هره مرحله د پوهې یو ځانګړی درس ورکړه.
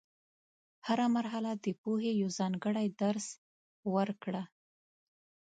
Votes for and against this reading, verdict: 2, 0, accepted